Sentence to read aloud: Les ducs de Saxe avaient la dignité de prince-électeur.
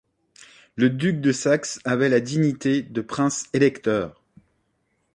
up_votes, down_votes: 1, 2